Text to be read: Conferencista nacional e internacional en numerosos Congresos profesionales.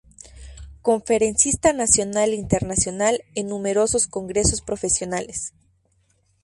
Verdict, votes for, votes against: rejected, 2, 2